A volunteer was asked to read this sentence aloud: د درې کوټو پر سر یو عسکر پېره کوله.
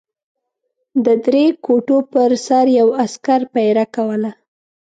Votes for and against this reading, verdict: 2, 0, accepted